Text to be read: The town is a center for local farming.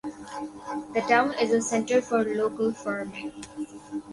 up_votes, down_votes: 2, 0